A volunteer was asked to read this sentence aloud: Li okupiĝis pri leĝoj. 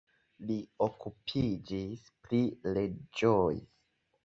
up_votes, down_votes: 1, 2